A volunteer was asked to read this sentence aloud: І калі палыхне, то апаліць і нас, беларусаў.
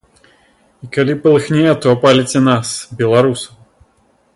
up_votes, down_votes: 1, 2